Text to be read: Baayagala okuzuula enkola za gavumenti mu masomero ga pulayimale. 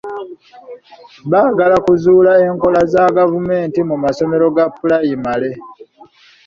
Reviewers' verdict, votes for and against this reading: rejected, 1, 2